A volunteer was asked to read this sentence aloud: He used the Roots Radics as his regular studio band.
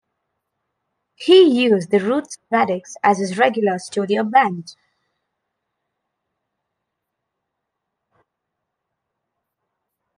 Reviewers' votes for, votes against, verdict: 2, 0, accepted